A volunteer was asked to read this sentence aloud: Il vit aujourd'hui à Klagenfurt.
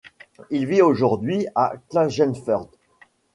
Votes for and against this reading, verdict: 2, 0, accepted